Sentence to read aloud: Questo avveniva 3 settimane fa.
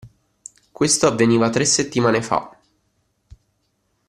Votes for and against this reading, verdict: 0, 2, rejected